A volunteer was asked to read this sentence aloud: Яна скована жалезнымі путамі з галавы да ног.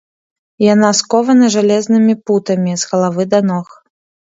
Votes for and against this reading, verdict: 2, 0, accepted